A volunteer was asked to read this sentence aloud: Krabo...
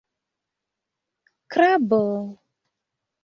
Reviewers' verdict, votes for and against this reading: accepted, 2, 0